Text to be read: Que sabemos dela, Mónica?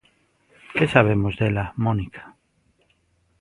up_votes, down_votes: 2, 0